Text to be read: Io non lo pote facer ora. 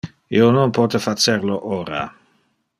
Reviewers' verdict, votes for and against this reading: rejected, 0, 2